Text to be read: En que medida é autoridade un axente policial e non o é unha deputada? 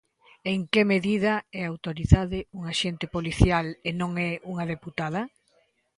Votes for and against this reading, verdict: 0, 2, rejected